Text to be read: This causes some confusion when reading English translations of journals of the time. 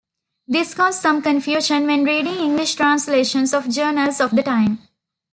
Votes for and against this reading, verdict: 0, 2, rejected